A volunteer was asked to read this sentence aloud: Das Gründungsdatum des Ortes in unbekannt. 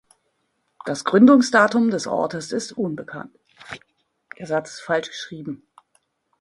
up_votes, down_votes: 0, 2